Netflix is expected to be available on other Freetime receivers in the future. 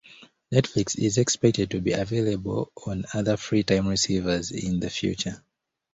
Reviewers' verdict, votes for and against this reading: accepted, 2, 0